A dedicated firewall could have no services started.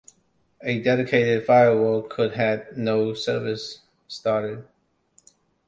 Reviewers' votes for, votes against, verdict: 0, 2, rejected